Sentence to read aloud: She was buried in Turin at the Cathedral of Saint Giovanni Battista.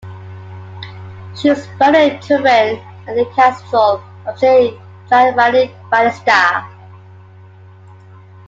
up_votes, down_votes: 0, 2